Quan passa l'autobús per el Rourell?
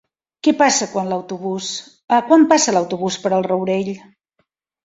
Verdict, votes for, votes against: rejected, 0, 2